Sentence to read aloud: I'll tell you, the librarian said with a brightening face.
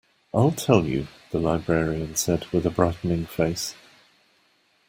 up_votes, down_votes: 2, 0